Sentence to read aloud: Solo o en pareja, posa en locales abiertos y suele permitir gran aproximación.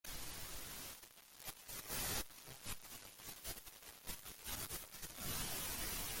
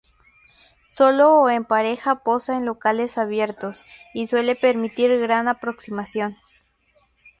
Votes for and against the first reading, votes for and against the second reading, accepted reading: 0, 2, 4, 0, second